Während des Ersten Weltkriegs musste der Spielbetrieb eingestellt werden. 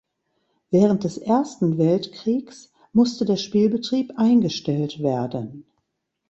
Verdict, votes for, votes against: accepted, 2, 0